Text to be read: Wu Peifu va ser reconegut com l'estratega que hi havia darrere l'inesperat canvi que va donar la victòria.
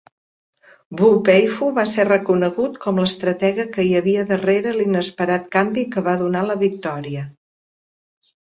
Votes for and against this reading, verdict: 2, 1, accepted